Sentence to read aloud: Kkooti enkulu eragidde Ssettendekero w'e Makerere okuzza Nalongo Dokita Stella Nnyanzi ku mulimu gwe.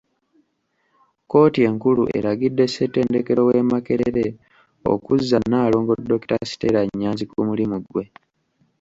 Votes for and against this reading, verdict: 2, 0, accepted